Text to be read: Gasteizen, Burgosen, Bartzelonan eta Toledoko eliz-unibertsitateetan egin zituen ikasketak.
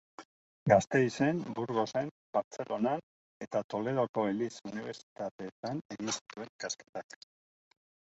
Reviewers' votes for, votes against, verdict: 2, 0, accepted